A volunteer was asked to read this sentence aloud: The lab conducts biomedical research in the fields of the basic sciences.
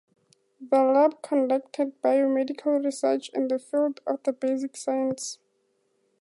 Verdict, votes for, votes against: accepted, 2, 0